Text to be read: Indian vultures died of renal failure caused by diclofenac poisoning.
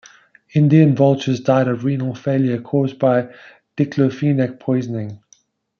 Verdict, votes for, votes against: accepted, 2, 0